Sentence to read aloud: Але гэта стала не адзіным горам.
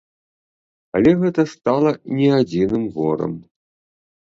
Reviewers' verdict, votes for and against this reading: accepted, 2, 0